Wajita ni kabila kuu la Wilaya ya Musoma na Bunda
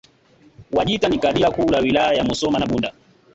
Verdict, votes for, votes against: accepted, 2, 1